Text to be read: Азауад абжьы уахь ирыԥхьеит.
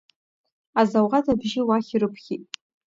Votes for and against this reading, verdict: 0, 2, rejected